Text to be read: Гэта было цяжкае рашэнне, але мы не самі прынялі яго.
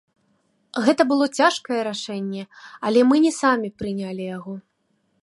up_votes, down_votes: 1, 2